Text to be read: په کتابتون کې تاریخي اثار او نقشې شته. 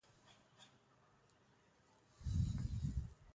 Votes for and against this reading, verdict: 0, 2, rejected